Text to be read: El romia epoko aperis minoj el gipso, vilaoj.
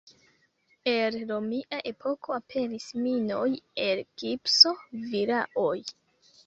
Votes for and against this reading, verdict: 2, 0, accepted